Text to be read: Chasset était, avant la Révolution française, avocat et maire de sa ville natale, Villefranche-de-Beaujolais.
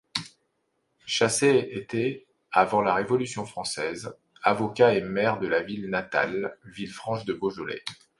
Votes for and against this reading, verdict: 3, 1, accepted